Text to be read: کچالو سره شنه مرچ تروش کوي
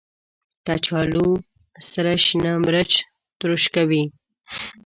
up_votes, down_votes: 2, 0